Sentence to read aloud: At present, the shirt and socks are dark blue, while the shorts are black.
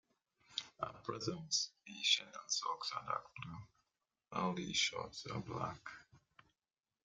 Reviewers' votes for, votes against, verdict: 1, 2, rejected